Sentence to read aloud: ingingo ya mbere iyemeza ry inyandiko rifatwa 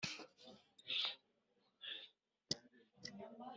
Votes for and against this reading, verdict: 0, 2, rejected